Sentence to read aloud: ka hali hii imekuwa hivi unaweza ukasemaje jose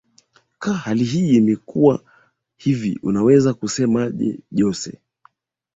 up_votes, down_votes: 0, 3